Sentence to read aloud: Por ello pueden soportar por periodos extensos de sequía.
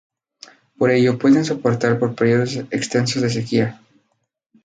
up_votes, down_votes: 2, 0